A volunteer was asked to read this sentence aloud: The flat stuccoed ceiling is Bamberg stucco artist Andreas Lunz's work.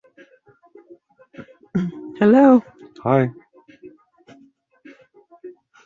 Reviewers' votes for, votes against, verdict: 0, 2, rejected